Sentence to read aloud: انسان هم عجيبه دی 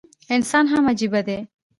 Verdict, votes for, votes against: accepted, 2, 0